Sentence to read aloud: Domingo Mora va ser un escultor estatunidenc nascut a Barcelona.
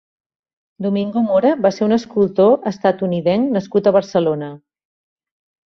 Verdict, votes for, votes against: accepted, 3, 0